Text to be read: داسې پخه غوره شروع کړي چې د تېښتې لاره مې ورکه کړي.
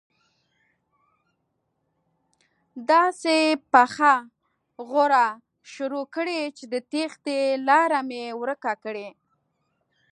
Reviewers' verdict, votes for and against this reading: accepted, 2, 0